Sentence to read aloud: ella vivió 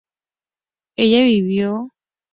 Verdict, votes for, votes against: rejected, 0, 2